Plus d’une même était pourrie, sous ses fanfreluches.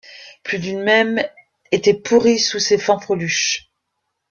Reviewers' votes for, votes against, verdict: 0, 2, rejected